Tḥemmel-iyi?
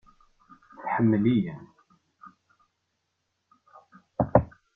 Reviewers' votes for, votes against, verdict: 1, 2, rejected